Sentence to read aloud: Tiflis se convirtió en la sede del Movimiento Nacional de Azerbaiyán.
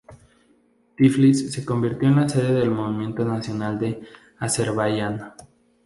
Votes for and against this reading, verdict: 2, 0, accepted